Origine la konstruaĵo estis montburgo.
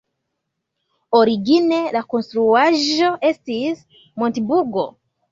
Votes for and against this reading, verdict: 2, 1, accepted